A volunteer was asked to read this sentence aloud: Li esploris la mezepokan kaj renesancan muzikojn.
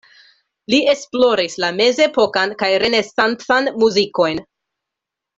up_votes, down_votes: 2, 0